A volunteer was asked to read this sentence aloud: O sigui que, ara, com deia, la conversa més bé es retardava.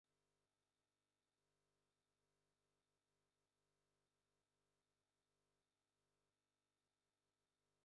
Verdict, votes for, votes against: rejected, 0, 2